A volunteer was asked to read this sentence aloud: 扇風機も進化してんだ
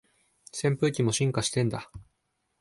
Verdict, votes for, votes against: accepted, 2, 0